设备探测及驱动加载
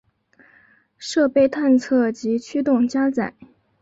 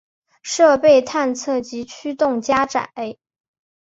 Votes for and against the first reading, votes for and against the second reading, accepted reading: 1, 2, 2, 0, second